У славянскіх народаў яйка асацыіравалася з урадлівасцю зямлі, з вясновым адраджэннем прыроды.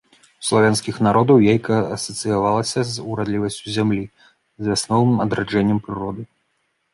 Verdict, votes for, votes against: rejected, 1, 2